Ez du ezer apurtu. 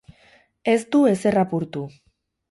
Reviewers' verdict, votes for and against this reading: rejected, 0, 2